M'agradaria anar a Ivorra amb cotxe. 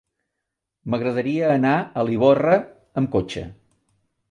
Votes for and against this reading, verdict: 0, 2, rejected